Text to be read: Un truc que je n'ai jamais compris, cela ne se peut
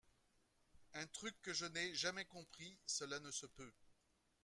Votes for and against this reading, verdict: 2, 0, accepted